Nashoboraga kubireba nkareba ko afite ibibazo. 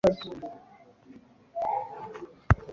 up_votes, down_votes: 0, 2